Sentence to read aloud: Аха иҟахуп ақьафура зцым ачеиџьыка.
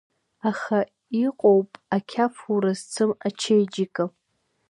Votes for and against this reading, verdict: 2, 0, accepted